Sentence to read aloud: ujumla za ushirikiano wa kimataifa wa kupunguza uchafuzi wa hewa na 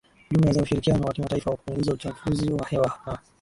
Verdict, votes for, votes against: accepted, 2, 1